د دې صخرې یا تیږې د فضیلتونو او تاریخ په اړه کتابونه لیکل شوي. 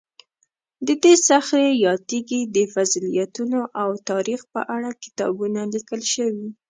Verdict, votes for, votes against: accepted, 2, 0